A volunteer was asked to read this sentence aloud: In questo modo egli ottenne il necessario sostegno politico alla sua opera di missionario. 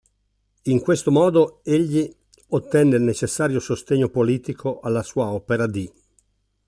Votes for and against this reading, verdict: 1, 2, rejected